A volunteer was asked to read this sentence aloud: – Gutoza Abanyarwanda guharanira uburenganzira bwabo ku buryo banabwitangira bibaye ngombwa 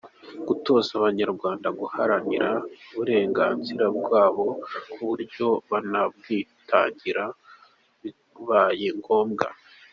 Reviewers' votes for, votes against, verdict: 2, 1, accepted